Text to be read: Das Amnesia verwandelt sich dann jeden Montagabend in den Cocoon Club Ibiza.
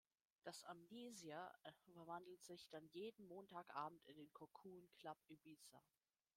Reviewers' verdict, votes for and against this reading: rejected, 0, 2